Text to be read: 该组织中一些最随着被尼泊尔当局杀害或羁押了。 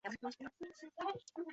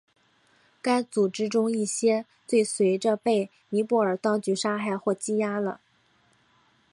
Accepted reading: second